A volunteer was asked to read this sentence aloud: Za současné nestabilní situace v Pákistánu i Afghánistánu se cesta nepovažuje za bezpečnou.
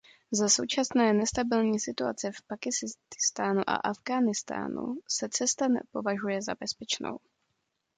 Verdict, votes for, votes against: rejected, 1, 2